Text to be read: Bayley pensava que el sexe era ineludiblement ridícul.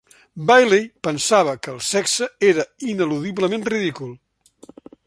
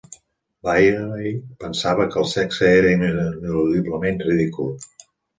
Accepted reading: first